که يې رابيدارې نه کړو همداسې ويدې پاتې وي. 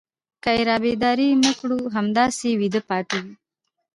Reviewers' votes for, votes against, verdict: 0, 2, rejected